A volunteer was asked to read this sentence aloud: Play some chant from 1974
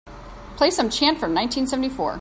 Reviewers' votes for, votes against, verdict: 0, 2, rejected